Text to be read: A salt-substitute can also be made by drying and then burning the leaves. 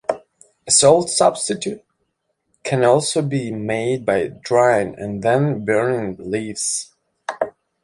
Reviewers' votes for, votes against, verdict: 2, 0, accepted